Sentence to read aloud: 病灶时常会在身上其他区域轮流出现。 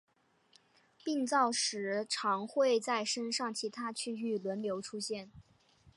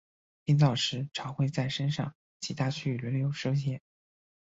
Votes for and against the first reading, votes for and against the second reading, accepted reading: 3, 0, 1, 2, first